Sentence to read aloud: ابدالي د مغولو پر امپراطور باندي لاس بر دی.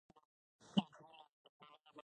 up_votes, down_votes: 0, 2